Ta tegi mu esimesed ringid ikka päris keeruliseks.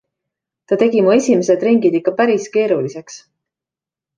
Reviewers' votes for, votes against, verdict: 2, 0, accepted